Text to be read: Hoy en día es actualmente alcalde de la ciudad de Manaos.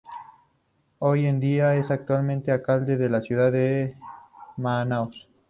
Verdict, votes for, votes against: accepted, 2, 0